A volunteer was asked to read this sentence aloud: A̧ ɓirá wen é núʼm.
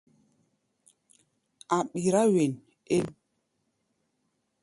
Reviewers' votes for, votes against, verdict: 0, 2, rejected